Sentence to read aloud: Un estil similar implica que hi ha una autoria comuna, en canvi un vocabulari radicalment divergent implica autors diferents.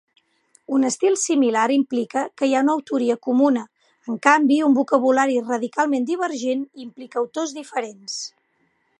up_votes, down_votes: 4, 0